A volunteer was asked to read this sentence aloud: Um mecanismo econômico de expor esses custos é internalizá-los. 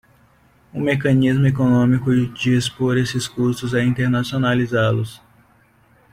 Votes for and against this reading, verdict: 1, 2, rejected